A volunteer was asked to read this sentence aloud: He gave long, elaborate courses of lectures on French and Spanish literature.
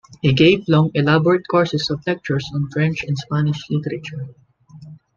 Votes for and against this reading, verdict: 2, 1, accepted